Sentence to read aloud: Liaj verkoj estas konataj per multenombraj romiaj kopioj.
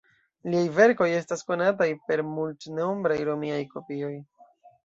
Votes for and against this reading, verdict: 0, 2, rejected